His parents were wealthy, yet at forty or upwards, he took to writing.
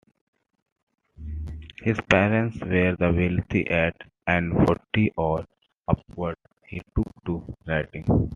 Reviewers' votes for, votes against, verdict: 1, 2, rejected